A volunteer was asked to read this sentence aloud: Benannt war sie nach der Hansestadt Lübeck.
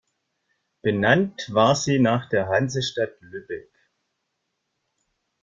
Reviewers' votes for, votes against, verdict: 2, 0, accepted